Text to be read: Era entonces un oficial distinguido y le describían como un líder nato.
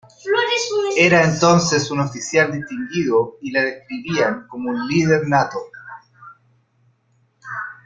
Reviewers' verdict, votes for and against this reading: accepted, 2, 1